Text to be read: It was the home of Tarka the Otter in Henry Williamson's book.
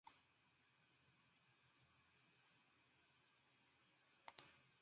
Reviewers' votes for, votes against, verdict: 0, 2, rejected